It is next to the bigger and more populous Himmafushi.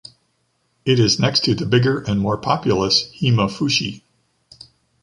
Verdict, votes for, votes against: accepted, 2, 0